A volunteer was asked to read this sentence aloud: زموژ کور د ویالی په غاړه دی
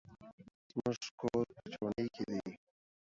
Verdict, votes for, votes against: accepted, 2, 0